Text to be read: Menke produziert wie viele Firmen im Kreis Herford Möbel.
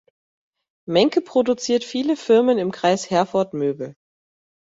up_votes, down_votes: 1, 2